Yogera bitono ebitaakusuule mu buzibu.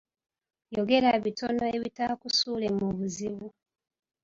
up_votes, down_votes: 2, 0